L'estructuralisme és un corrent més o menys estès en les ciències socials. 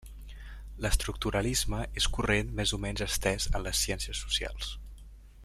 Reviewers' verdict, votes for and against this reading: rejected, 0, 2